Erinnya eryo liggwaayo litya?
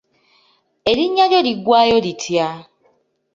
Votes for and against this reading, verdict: 1, 2, rejected